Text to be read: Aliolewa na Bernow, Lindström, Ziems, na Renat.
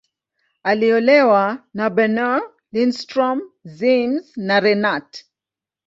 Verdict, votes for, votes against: accepted, 2, 0